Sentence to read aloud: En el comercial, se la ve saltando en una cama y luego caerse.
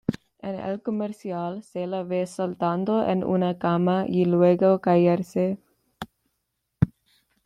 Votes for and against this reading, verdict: 2, 0, accepted